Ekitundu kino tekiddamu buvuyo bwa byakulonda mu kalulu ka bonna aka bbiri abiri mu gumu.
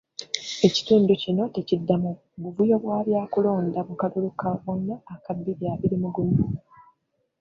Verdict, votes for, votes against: rejected, 0, 2